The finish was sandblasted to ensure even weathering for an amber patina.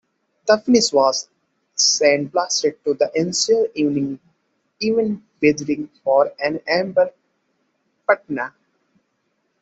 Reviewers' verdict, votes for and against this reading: rejected, 0, 2